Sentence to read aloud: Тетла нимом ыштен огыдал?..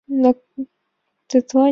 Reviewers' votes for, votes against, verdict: 1, 4, rejected